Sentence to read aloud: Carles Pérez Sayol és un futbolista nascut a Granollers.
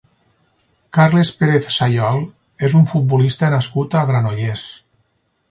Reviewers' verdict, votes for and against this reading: accepted, 4, 0